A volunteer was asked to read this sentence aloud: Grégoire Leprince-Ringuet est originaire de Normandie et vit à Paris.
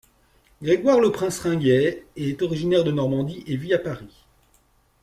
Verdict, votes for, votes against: accepted, 2, 0